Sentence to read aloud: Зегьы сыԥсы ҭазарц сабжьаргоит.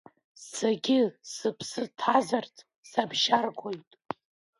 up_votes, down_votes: 0, 2